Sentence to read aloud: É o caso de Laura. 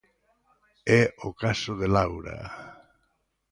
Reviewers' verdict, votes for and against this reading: accepted, 2, 0